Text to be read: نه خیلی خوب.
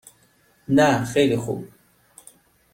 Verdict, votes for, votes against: accepted, 2, 0